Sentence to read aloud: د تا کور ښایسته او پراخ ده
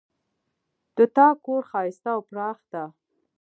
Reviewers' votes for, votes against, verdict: 2, 1, accepted